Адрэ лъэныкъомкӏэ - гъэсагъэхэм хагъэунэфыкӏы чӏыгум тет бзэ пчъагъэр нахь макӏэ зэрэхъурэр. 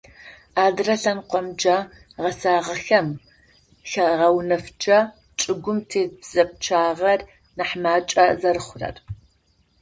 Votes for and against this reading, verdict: 2, 0, accepted